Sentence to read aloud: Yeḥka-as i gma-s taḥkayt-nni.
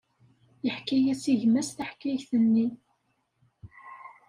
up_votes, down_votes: 2, 0